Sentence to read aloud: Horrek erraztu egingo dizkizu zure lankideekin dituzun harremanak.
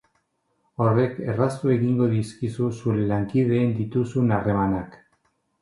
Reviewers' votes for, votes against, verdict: 0, 4, rejected